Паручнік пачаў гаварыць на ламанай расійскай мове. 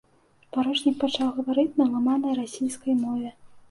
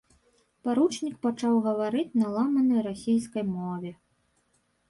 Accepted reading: first